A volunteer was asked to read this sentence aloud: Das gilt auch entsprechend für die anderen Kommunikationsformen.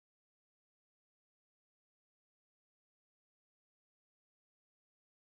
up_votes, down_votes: 0, 2